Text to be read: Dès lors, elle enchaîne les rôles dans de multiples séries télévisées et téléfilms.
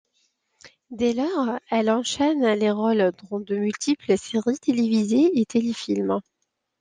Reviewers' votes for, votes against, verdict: 2, 0, accepted